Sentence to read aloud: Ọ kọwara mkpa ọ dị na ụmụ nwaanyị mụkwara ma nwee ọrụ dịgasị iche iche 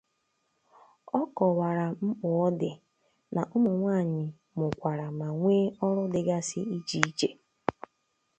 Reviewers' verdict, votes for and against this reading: accepted, 2, 0